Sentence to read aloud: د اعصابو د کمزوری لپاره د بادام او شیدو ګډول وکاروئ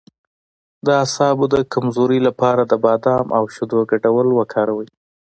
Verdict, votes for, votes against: accepted, 2, 0